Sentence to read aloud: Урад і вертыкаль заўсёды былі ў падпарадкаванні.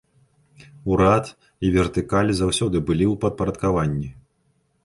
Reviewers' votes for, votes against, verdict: 2, 0, accepted